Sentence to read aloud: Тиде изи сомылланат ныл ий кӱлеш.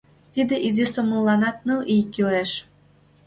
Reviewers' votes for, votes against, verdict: 2, 0, accepted